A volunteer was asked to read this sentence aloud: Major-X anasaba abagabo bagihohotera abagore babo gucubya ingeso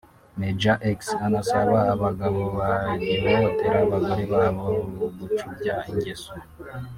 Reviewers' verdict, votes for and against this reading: accepted, 2, 1